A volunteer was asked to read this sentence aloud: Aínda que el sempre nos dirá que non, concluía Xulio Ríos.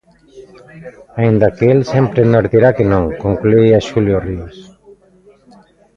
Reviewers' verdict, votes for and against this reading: rejected, 0, 2